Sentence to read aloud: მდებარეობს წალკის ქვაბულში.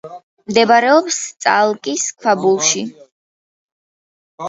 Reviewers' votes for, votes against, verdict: 1, 2, rejected